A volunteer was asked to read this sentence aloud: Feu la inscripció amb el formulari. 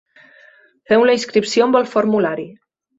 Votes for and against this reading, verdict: 2, 1, accepted